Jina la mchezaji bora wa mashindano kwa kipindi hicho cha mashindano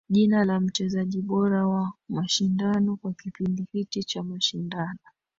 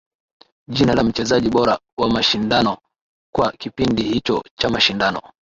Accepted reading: second